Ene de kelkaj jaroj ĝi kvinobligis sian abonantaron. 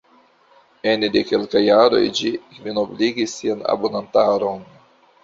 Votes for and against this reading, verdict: 2, 0, accepted